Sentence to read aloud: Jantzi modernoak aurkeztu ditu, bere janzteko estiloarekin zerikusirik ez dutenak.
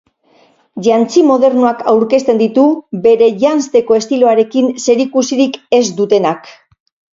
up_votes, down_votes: 2, 4